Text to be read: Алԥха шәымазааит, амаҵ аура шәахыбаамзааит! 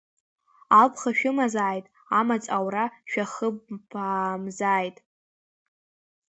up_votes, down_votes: 2, 1